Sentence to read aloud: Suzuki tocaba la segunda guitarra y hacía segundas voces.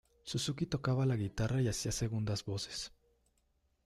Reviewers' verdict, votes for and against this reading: rejected, 0, 2